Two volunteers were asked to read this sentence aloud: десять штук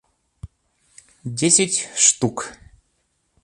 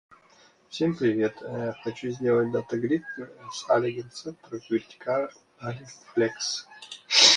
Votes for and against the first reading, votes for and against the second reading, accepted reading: 2, 0, 0, 2, first